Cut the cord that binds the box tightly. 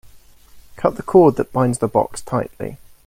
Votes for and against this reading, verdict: 2, 0, accepted